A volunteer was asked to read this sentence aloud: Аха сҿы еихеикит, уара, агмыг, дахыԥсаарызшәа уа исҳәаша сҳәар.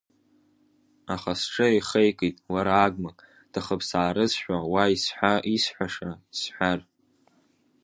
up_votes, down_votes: 1, 2